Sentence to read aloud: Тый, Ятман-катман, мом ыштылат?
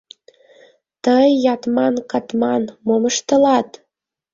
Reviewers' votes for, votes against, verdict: 2, 0, accepted